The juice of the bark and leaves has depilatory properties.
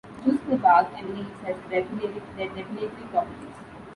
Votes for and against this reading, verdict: 0, 2, rejected